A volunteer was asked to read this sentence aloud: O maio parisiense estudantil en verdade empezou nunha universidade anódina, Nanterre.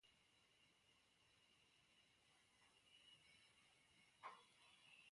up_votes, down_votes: 0, 2